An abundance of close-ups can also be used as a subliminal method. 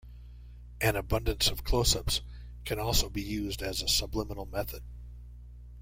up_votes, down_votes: 2, 0